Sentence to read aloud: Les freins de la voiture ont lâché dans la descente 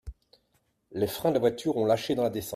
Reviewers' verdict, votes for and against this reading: rejected, 0, 2